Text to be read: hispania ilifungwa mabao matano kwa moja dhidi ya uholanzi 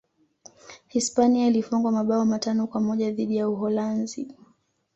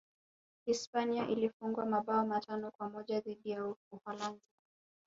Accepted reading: first